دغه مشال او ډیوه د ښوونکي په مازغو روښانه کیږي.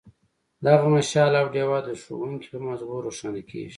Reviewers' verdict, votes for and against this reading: rejected, 1, 2